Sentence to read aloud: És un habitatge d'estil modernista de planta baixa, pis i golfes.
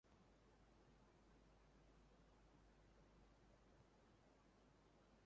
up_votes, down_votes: 0, 3